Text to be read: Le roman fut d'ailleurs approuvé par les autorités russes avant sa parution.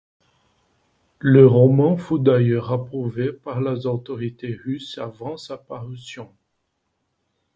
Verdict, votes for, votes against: rejected, 1, 2